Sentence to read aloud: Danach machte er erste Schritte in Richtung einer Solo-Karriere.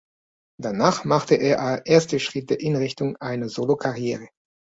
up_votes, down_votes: 1, 2